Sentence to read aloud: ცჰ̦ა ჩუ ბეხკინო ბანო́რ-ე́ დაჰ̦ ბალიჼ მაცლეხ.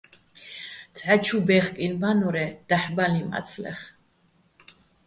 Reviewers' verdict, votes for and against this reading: accepted, 2, 0